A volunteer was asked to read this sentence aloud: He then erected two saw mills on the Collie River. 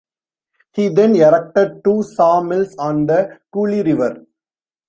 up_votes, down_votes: 1, 2